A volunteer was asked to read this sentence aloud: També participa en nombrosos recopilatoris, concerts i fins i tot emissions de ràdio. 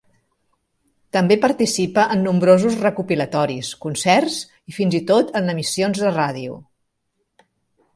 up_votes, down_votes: 0, 3